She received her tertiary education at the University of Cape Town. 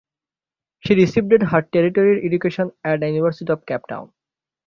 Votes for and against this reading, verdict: 0, 6, rejected